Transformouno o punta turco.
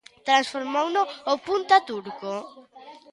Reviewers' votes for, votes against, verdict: 0, 2, rejected